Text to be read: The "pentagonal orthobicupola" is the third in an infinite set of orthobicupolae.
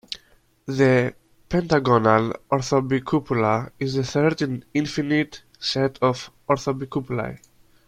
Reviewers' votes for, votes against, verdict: 2, 1, accepted